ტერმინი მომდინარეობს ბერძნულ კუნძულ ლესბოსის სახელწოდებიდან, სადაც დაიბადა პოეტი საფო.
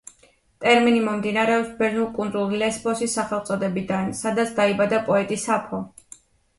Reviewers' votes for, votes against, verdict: 2, 0, accepted